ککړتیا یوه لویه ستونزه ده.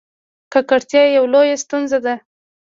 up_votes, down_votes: 1, 2